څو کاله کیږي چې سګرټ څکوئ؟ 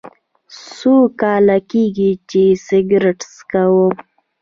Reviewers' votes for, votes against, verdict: 1, 2, rejected